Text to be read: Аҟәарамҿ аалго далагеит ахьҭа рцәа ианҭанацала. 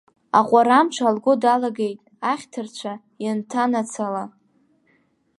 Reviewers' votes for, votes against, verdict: 1, 2, rejected